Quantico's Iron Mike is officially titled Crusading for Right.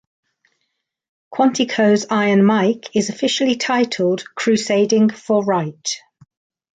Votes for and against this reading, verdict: 2, 0, accepted